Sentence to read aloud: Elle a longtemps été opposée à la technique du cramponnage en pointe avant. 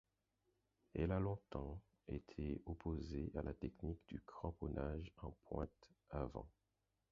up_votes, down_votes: 2, 4